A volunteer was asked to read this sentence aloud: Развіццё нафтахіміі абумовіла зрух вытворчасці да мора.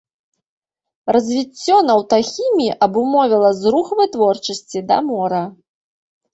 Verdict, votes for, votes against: rejected, 0, 3